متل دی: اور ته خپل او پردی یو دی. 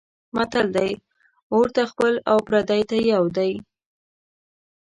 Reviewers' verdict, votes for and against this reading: rejected, 1, 2